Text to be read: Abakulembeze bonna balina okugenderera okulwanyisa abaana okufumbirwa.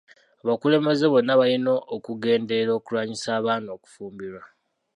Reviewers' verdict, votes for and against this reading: accepted, 2, 0